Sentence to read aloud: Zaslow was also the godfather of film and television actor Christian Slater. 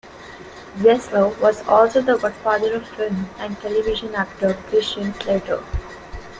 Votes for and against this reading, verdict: 0, 2, rejected